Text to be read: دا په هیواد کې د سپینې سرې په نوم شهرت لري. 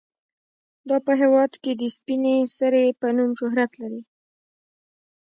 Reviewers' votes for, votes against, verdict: 1, 2, rejected